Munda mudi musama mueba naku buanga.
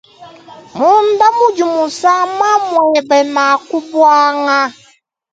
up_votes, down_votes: 3, 0